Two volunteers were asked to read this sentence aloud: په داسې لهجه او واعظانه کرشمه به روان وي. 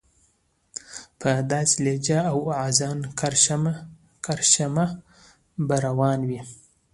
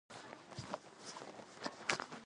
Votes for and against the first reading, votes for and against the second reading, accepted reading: 2, 0, 0, 2, first